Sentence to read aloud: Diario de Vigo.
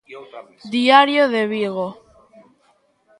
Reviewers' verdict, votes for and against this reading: accepted, 2, 0